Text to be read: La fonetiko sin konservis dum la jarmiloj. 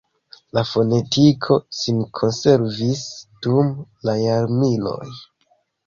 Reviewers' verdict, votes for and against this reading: accepted, 2, 0